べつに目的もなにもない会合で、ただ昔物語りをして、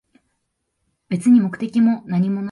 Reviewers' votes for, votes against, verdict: 0, 2, rejected